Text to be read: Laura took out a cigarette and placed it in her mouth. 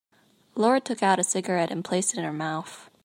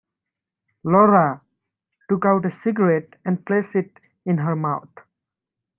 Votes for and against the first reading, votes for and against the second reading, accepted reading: 2, 0, 1, 2, first